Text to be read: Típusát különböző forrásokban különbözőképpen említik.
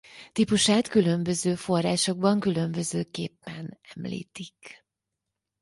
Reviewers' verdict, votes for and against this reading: accepted, 4, 0